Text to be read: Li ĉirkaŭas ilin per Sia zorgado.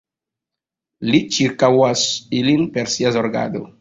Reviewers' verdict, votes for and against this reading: accepted, 2, 0